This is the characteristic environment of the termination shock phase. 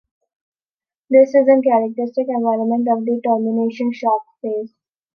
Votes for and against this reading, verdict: 1, 2, rejected